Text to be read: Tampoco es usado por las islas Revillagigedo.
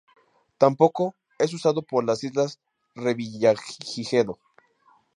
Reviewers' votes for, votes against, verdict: 0, 2, rejected